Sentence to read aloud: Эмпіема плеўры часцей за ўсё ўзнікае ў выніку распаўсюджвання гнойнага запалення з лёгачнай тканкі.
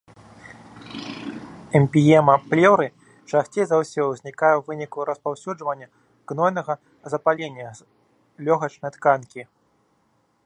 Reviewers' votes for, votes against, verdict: 1, 3, rejected